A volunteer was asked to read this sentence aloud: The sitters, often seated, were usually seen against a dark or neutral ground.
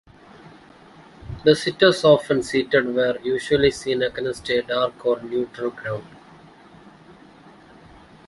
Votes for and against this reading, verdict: 1, 2, rejected